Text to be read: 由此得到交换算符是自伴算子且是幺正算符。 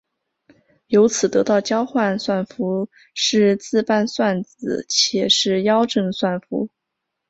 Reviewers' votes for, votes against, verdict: 3, 0, accepted